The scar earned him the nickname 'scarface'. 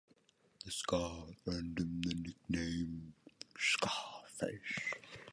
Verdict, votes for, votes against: rejected, 1, 2